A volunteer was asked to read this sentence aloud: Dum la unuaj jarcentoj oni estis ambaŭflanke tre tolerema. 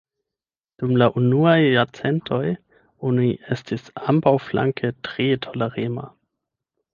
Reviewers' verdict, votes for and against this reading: rejected, 0, 8